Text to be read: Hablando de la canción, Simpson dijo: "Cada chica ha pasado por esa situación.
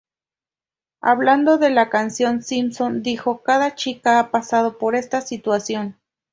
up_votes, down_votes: 0, 2